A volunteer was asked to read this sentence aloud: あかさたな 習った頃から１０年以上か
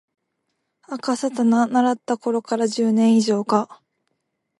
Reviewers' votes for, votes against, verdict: 0, 2, rejected